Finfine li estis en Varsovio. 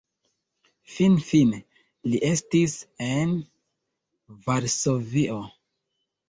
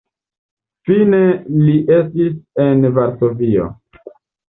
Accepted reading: first